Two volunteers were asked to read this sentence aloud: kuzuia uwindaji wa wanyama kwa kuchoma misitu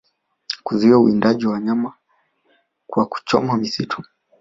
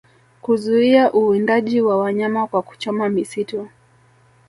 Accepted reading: first